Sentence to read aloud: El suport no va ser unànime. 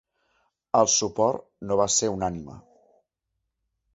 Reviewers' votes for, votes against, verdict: 2, 0, accepted